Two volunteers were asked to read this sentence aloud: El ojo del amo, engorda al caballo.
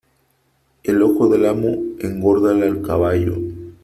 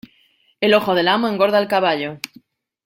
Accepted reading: second